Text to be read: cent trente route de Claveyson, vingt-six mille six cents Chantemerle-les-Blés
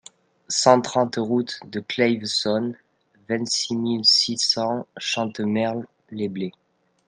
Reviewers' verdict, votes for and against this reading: rejected, 1, 2